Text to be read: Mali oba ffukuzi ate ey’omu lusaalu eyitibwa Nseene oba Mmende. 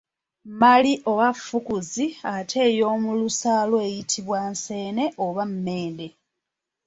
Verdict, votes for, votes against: rejected, 1, 2